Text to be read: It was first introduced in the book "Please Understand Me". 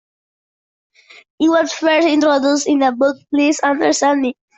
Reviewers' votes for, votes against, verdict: 2, 0, accepted